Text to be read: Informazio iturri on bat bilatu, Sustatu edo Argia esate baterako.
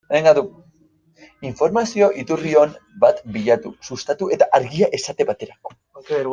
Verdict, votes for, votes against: rejected, 0, 2